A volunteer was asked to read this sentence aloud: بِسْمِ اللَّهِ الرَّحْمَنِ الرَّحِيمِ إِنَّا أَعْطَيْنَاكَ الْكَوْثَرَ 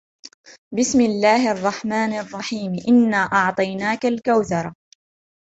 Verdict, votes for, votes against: accepted, 2, 1